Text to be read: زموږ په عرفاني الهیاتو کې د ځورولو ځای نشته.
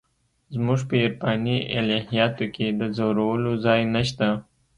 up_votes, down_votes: 2, 0